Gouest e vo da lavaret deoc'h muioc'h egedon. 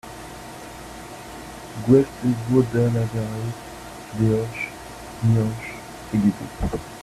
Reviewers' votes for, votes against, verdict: 0, 2, rejected